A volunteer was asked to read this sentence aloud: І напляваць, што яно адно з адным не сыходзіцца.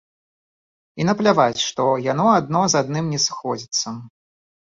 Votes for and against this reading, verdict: 0, 2, rejected